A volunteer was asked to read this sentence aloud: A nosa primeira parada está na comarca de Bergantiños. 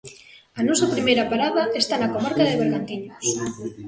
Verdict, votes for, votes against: accepted, 2, 0